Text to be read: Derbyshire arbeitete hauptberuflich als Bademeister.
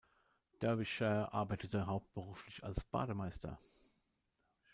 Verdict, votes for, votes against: rejected, 0, 2